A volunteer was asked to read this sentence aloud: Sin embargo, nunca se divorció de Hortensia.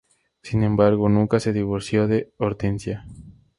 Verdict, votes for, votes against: accepted, 2, 0